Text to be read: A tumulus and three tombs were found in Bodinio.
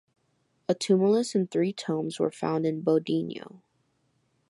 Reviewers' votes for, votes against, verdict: 2, 1, accepted